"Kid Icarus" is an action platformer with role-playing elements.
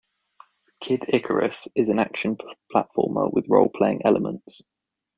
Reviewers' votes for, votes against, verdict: 2, 1, accepted